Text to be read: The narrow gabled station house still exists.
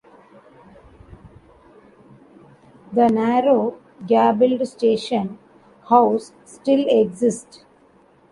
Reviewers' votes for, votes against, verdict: 0, 2, rejected